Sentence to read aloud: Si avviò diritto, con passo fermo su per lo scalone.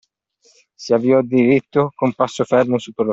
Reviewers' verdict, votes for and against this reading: rejected, 0, 2